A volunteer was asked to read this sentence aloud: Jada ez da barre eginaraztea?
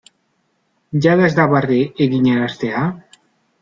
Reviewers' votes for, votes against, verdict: 2, 0, accepted